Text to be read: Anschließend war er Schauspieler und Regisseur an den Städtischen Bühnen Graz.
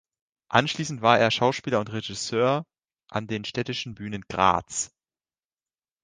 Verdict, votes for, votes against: accepted, 2, 0